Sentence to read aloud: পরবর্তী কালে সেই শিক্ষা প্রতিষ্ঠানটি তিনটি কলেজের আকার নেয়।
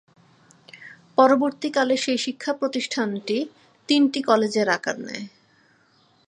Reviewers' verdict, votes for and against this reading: accepted, 22, 0